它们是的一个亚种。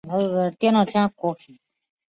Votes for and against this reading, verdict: 1, 5, rejected